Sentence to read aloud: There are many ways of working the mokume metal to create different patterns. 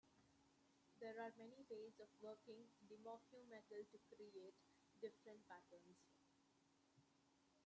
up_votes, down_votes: 1, 2